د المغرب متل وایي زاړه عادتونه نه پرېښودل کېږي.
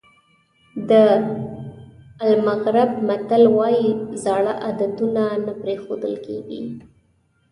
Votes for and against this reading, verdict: 3, 0, accepted